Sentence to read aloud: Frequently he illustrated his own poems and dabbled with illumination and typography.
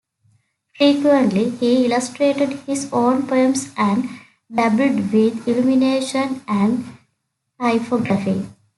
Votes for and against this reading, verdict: 2, 1, accepted